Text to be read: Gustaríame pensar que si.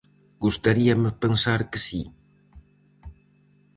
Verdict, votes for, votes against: accepted, 4, 0